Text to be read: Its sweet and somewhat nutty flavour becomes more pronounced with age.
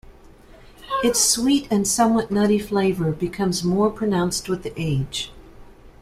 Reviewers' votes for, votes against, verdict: 2, 0, accepted